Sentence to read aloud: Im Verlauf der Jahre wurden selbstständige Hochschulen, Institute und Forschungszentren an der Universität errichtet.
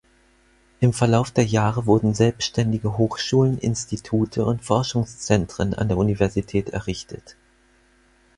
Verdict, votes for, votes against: accepted, 4, 0